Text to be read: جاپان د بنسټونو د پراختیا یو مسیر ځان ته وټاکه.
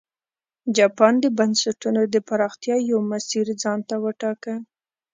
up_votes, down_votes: 2, 0